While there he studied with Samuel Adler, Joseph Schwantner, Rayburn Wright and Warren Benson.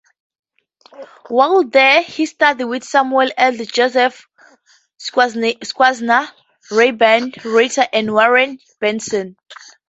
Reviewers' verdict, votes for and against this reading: rejected, 0, 2